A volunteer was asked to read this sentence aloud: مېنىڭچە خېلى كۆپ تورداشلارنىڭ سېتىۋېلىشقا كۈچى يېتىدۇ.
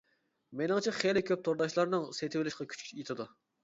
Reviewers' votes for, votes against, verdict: 0, 2, rejected